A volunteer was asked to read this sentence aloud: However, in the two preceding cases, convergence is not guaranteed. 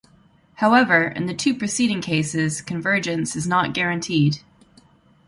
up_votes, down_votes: 2, 0